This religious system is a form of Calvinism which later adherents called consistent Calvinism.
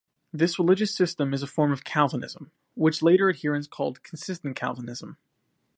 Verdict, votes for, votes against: accepted, 2, 0